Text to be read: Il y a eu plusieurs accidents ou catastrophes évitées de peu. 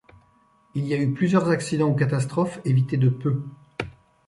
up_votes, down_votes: 2, 0